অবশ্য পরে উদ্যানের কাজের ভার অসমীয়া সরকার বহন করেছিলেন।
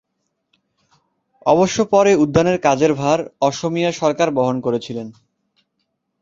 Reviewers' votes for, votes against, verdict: 2, 0, accepted